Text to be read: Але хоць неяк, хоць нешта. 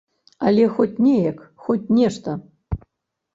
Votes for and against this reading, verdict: 2, 0, accepted